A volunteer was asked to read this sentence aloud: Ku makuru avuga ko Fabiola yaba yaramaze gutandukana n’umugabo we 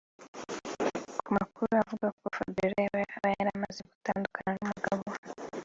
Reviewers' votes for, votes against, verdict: 3, 2, accepted